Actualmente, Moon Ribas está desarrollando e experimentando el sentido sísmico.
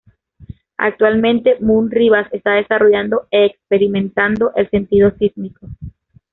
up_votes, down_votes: 2, 0